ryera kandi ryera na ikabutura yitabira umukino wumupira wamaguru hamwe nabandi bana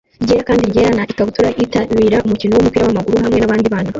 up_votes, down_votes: 1, 3